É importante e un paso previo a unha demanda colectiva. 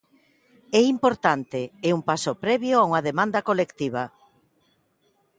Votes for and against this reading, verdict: 2, 0, accepted